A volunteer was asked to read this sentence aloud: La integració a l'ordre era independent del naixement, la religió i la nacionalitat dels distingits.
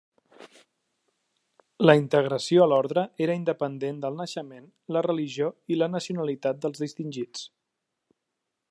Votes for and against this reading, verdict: 3, 0, accepted